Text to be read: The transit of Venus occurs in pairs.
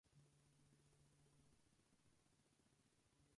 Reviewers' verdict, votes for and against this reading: rejected, 0, 4